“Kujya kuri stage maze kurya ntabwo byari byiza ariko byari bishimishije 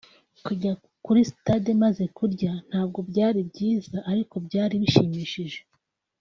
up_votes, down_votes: 1, 2